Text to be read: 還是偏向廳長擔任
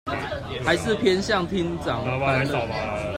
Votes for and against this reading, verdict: 1, 2, rejected